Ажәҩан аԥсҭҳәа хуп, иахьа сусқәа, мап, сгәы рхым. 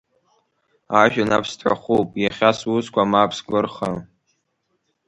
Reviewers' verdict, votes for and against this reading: rejected, 0, 2